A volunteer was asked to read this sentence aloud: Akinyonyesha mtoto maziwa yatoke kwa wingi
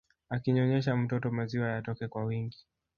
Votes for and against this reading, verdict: 2, 1, accepted